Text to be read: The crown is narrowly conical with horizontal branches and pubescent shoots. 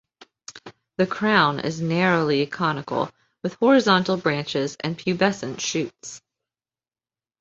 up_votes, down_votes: 2, 0